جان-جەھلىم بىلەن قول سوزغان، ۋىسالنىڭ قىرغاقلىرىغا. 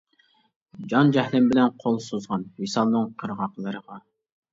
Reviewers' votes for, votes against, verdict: 2, 0, accepted